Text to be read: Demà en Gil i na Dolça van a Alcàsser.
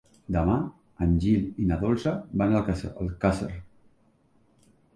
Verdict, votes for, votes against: rejected, 1, 2